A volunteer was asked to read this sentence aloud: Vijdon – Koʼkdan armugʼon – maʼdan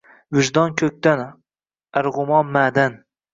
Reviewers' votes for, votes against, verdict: 1, 2, rejected